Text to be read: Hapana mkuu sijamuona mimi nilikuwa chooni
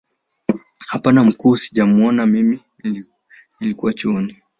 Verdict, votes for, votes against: rejected, 0, 2